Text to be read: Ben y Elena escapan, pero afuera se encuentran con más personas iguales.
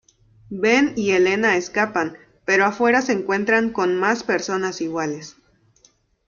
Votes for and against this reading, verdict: 2, 0, accepted